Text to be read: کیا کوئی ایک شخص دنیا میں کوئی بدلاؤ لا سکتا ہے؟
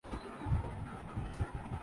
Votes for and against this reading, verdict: 0, 2, rejected